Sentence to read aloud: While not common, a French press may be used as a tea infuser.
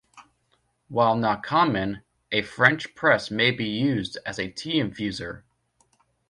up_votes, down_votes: 2, 0